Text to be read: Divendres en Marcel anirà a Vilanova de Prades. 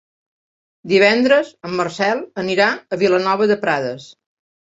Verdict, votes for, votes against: accepted, 3, 0